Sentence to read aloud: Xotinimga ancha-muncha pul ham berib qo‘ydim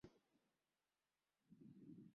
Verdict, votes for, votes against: rejected, 0, 2